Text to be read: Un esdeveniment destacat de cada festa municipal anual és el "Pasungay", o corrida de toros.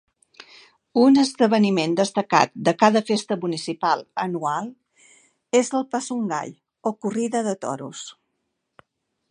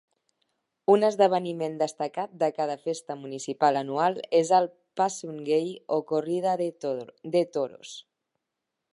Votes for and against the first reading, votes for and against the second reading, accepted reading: 2, 0, 0, 2, first